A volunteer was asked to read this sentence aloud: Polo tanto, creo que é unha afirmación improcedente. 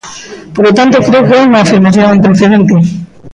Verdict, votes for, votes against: rejected, 1, 2